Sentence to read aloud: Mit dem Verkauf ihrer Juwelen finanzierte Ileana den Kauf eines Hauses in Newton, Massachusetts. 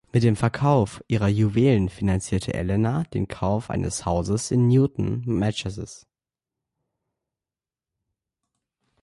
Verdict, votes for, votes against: rejected, 0, 2